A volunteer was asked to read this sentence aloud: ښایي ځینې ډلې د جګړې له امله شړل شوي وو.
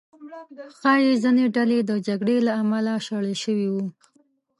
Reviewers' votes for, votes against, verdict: 2, 0, accepted